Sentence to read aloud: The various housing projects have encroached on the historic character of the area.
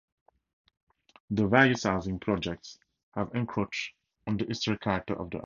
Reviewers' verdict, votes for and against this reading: rejected, 2, 4